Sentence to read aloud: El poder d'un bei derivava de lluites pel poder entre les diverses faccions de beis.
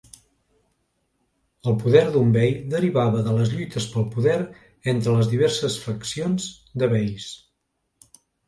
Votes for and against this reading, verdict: 0, 2, rejected